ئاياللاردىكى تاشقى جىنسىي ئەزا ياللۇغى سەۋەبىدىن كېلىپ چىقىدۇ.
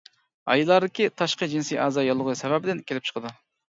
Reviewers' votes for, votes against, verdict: 0, 2, rejected